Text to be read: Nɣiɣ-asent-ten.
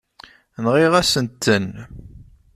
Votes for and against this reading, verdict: 2, 0, accepted